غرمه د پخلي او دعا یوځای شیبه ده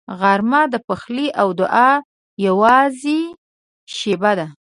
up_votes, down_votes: 0, 2